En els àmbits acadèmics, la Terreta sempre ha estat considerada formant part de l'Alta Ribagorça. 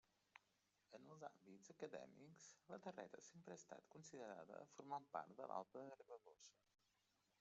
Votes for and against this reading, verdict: 0, 2, rejected